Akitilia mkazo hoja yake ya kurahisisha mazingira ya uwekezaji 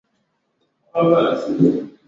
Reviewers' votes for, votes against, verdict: 0, 4, rejected